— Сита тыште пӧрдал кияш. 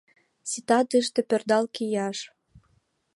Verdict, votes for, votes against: accepted, 2, 0